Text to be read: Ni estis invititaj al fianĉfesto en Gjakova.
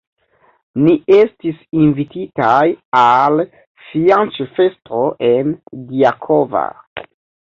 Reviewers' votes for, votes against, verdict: 0, 2, rejected